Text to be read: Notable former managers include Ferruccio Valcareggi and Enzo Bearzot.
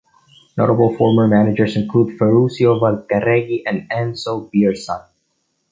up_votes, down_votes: 2, 0